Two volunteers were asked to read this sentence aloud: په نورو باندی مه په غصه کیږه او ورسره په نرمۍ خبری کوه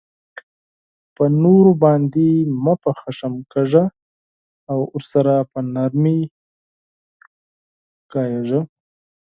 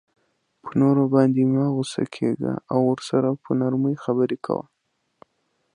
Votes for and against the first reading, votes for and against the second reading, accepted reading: 0, 4, 2, 0, second